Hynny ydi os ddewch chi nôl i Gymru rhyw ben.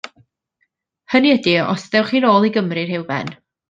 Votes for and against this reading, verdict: 2, 0, accepted